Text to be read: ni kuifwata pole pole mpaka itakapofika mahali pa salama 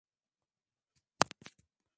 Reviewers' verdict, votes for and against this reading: rejected, 0, 2